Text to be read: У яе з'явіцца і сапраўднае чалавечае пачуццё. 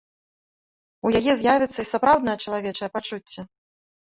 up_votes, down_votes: 0, 2